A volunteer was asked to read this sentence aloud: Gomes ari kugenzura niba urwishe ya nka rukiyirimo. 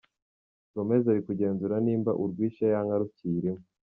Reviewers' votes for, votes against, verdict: 2, 3, rejected